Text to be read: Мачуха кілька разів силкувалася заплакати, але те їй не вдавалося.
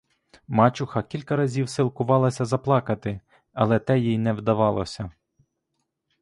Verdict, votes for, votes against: accepted, 2, 0